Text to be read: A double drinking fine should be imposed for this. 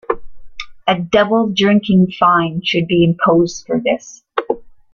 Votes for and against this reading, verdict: 2, 0, accepted